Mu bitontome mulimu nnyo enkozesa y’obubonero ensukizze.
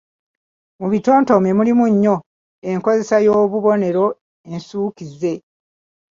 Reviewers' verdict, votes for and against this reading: accepted, 2, 0